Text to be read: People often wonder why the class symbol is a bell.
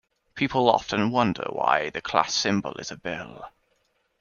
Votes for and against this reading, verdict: 2, 0, accepted